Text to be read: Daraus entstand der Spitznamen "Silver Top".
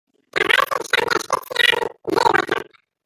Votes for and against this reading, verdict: 0, 2, rejected